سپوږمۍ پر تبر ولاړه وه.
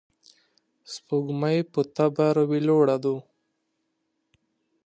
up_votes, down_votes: 1, 2